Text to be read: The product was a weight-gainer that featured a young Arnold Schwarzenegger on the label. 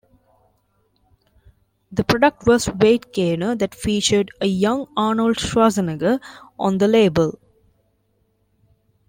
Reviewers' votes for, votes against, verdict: 0, 2, rejected